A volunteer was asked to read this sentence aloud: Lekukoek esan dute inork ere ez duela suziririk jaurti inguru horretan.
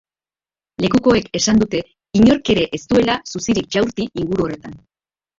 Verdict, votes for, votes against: rejected, 0, 2